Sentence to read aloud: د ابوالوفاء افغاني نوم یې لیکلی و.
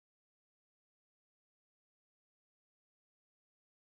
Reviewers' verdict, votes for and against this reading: rejected, 0, 2